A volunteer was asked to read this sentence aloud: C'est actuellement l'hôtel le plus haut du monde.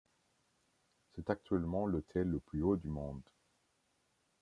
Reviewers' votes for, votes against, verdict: 2, 1, accepted